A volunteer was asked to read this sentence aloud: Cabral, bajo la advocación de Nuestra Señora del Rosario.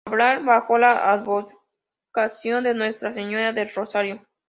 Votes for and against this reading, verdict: 2, 0, accepted